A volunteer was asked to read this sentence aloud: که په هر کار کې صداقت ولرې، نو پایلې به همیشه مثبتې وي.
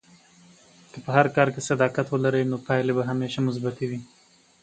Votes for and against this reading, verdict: 3, 0, accepted